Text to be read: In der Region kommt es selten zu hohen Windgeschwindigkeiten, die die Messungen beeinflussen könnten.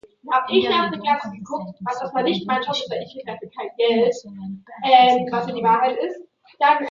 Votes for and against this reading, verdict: 0, 2, rejected